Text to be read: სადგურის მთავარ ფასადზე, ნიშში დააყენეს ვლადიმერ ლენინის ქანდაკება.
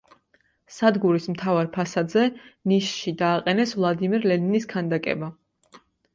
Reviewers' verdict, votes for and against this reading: accepted, 2, 0